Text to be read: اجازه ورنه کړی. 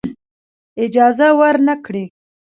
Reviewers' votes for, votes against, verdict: 2, 1, accepted